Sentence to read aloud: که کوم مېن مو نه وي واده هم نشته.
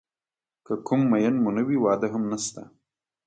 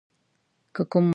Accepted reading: first